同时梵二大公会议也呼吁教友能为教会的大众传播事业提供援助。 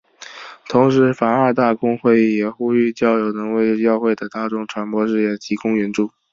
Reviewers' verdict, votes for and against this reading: accepted, 2, 0